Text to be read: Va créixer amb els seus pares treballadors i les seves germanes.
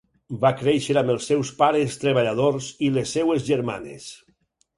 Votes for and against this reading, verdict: 2, 4, rejected